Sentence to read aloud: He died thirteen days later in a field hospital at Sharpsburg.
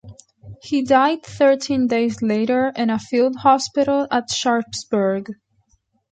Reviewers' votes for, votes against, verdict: 1, 2, rejected